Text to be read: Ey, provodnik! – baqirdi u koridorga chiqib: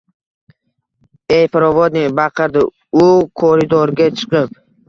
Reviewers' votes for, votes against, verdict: 2, 0, accepted